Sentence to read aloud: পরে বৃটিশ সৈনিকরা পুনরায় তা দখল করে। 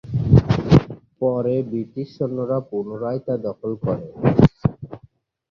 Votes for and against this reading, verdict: 2, 3, rejected